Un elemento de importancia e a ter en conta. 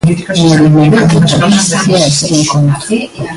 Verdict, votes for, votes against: rejected, 0, 2